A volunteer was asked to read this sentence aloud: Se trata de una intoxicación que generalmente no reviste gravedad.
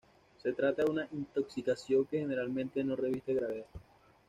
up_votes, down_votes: 2, 0